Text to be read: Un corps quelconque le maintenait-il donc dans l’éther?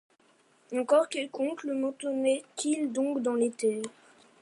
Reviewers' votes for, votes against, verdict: 0, 2, rejected